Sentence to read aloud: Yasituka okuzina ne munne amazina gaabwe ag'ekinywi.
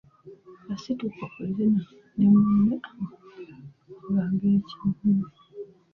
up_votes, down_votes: 0, 2